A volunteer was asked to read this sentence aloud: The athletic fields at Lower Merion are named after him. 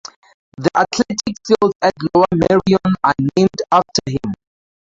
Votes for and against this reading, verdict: 2, 0, accepted